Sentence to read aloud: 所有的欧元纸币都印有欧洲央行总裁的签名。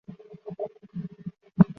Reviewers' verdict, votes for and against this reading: rejected, 2, 5